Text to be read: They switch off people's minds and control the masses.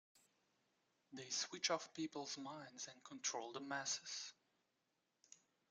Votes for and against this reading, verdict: 2, 1, accepted